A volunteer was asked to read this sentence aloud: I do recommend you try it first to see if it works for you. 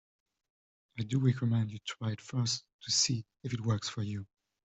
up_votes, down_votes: 2, 1